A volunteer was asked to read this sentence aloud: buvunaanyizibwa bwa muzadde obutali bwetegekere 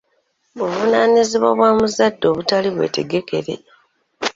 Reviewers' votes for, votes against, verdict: 0, 2, rejected